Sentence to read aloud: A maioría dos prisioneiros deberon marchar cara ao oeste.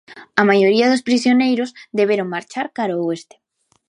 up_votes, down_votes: 2, 0